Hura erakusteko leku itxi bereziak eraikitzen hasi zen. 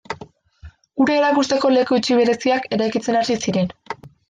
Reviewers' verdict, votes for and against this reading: rejected, 1, 2